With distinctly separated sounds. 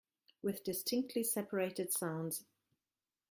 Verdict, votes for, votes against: rejected, 1, 2